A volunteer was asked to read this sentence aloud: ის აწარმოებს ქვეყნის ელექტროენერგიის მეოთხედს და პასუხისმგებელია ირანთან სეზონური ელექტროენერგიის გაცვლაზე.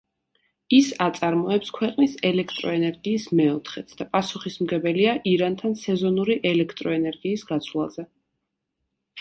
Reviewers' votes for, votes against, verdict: 2, 0, accepted